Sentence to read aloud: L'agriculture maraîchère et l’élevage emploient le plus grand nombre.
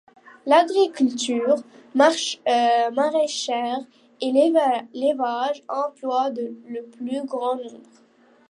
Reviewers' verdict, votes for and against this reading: rejected, 0, 2